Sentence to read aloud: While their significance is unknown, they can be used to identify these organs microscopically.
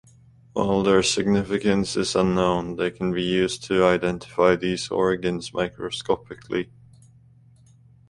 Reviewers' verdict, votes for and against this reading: accepted, 2, 0